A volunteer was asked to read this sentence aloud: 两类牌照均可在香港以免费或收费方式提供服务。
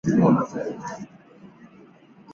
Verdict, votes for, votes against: rejected, 0, 2